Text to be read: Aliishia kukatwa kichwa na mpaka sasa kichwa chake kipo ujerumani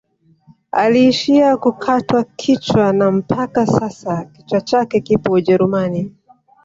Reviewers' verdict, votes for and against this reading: accepted, 2, 1